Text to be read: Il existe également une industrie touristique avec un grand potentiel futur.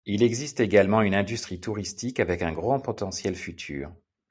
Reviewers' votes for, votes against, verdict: 2, 0, accepted